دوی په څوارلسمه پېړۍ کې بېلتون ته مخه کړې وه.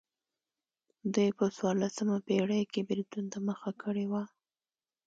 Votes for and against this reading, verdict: 2, 0, accepted